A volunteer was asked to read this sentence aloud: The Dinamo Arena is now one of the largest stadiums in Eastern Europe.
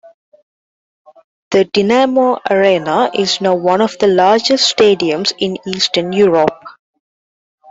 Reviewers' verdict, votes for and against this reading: accepted, 2, 0